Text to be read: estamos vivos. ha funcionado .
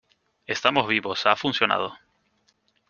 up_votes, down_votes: 2, 0